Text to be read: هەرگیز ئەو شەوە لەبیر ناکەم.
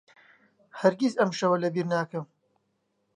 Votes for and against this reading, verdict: 1, 2, rejected